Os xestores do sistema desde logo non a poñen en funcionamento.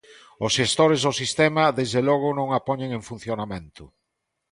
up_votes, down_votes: 2, 0